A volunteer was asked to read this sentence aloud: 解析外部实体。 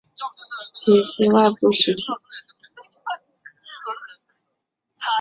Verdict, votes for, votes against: accepted, 2, 0